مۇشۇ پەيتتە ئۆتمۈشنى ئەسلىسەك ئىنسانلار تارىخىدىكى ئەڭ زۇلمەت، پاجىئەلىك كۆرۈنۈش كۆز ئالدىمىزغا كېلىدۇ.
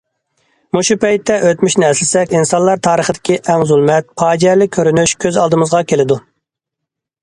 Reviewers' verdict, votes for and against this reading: accepted, 2, 0